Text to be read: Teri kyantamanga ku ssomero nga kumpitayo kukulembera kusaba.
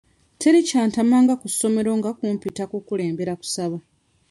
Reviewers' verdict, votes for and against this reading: rejected, 0, 3